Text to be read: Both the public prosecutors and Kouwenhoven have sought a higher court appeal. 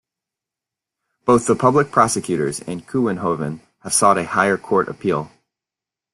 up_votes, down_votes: 2, 0